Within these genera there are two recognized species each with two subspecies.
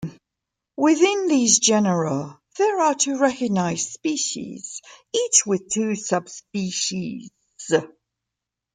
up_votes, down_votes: 1, 2